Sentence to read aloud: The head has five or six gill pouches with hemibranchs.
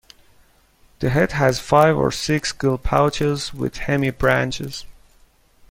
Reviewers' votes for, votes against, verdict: 0, 2, rejected